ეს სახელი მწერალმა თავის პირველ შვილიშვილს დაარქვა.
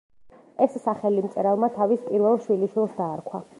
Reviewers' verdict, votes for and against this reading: rejected, 1, 2